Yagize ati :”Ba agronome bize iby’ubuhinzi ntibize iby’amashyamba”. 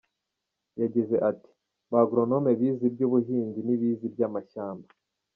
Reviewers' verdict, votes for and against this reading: accepted, 2, 0